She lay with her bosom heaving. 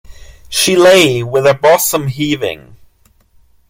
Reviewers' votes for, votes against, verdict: 2, 1, accepted